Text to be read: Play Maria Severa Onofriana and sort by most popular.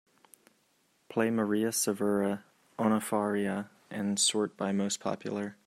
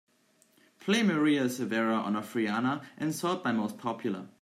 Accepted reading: second